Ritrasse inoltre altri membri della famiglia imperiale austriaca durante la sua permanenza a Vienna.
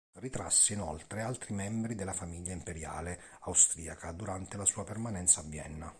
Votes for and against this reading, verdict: 2, 0, accepted